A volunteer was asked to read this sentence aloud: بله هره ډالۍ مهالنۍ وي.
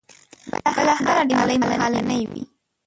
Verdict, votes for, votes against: rejected, 0, 2